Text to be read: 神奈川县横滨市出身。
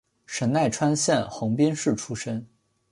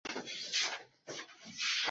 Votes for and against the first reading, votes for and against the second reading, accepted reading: 2, 0, 1, 2, first